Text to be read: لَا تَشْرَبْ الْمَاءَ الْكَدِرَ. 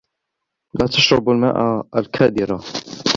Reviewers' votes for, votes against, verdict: 1, 2, rejected